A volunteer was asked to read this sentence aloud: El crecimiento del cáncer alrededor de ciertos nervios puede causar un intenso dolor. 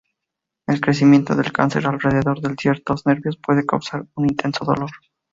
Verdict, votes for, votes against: accepted, 2, 0